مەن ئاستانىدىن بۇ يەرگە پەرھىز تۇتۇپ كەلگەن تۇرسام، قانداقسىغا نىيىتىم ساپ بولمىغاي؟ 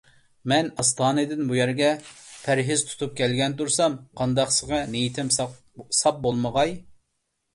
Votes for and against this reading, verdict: 1, 2, rejected